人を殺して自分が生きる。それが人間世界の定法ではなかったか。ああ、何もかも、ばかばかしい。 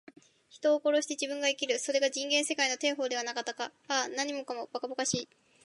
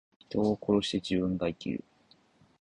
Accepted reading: first